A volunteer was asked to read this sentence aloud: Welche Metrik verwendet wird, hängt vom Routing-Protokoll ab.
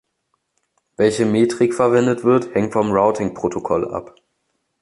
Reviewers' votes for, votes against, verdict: 2, 0, accepted